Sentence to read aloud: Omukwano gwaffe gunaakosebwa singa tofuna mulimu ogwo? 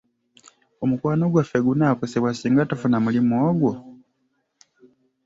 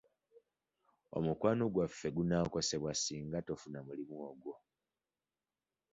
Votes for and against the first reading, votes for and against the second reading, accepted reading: 2, 1, 0, 2, first